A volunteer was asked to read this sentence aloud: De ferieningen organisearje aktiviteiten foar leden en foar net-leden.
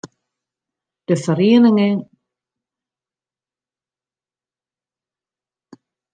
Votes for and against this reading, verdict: 0, 2, rejected